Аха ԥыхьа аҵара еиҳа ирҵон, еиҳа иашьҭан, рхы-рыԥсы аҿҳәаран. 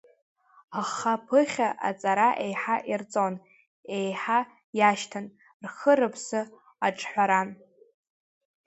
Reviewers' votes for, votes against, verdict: 2, 0, accepted